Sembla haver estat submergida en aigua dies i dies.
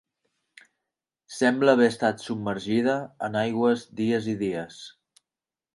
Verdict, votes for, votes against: rejected, 1, 2